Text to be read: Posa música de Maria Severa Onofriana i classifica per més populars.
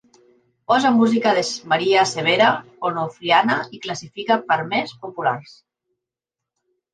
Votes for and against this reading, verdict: 0, 2, rejected